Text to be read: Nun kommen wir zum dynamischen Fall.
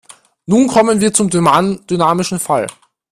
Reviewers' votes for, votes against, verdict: 0, 2, rejected